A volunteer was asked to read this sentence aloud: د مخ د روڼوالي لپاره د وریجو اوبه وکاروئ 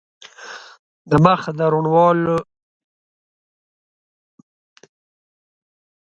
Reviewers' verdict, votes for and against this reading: rejected, 1, 2